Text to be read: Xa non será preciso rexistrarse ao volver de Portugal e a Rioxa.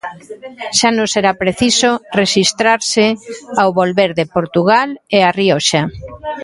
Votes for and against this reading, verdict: 1, 2, rejected